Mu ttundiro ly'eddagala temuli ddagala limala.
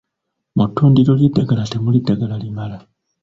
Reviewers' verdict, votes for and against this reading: rejected, 1, 2